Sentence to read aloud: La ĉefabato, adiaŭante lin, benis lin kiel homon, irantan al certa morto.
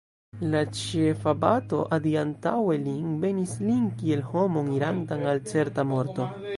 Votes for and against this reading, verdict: 0, 2, rejected